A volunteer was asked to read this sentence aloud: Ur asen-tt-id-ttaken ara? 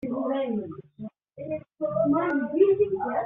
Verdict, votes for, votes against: rejected, 0, 2